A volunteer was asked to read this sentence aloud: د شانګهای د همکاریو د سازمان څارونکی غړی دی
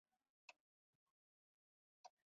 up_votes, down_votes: 1, 2